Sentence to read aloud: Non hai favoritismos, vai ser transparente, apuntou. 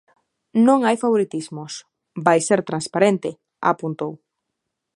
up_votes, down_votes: 2, 0